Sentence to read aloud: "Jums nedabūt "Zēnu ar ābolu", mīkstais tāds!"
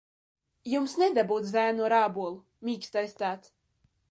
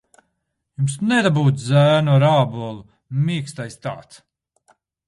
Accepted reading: first